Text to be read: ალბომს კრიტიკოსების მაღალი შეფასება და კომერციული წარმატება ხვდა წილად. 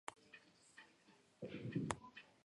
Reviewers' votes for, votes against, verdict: 1, 2, rejected